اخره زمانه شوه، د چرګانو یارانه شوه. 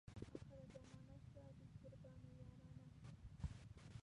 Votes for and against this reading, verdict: 0, 2, rejected